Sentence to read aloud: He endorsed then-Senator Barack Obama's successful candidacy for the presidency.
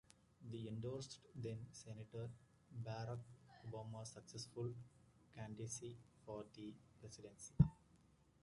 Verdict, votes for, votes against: accepted, 2, 1